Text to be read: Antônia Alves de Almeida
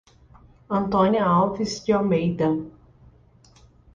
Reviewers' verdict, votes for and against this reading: accepted, 2, 0